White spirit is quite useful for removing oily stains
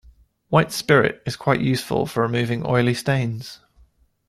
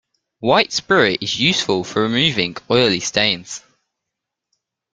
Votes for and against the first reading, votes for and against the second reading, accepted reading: 2, 0, 1, 2, first